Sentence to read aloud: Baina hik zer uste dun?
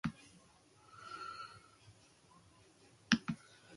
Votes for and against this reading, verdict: 0, 2, rejected